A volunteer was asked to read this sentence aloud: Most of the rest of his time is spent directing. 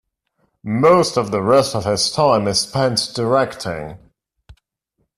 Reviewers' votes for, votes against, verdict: 2, 0, accepted